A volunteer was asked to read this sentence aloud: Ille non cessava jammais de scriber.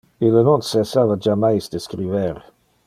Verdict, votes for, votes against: accepted, 2, 0